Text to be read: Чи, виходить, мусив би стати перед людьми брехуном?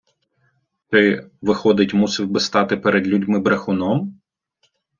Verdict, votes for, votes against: rejected, 0, 2